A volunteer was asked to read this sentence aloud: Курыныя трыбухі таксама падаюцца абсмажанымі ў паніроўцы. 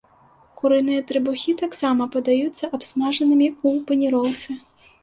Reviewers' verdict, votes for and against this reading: accepted, 2, 0